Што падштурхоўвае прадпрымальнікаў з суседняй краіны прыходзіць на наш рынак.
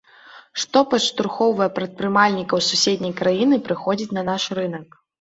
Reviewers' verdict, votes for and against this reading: accepted, 2, 1